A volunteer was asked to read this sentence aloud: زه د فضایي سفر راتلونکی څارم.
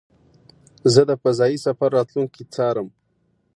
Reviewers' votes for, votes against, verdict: 2, 0, accepted